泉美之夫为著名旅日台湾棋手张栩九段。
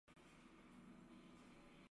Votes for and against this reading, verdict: 0, 2, rejected